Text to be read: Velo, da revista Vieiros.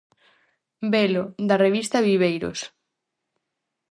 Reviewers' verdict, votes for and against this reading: rejected, 0, 4